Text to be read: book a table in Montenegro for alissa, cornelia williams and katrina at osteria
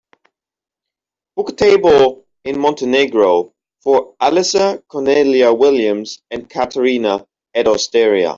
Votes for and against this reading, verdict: 2, 1, accepted